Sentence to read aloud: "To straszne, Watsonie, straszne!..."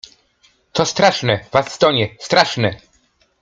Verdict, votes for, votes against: rejected, 1, 2